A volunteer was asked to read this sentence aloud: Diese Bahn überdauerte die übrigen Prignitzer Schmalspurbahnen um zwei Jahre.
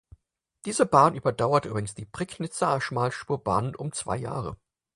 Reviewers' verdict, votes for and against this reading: accepted, 4, 2